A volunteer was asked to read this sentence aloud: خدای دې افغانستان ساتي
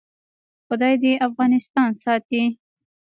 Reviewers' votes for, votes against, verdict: 1, 2, rejected